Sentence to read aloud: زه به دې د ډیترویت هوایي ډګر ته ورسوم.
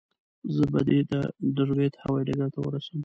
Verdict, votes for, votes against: rejected, 1, 2